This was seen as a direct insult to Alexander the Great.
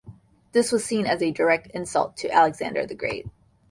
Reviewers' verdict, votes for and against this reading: accepted, 2, 0